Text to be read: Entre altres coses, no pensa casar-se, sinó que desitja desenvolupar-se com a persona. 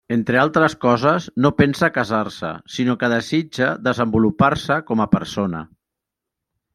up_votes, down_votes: 0, 2